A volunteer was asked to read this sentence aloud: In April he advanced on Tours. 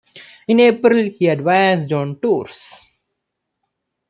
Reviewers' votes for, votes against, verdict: 2, 0, accepted